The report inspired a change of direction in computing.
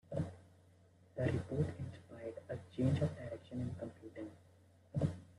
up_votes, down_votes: 0, 2